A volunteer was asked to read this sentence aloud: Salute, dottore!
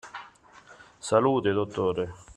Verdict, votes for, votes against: accepted, 2, 0